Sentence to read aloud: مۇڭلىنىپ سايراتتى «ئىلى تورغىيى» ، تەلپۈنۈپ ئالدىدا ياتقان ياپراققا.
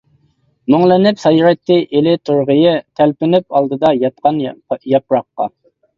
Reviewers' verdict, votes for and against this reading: rejected, 0, 2